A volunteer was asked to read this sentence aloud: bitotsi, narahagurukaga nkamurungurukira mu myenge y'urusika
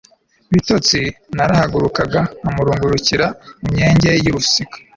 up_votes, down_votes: 2, 0